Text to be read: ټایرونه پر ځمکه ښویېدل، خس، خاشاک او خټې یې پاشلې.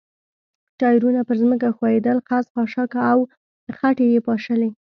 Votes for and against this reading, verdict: 2, 0, accepted